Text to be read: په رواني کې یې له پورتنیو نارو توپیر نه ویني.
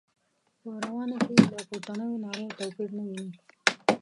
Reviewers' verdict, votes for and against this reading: rejected, 1, 2